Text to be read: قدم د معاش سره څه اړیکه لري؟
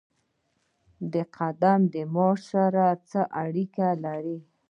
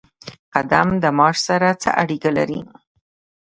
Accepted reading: first